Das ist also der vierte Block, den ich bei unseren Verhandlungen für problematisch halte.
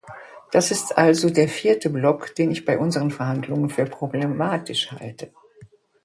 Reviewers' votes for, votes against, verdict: 2, 0, accepted